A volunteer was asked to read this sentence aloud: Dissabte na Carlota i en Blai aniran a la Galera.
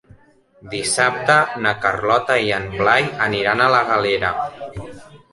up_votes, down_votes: 4, 0